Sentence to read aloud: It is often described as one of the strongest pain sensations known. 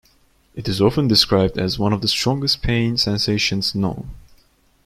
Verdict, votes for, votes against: accepted, 2, 0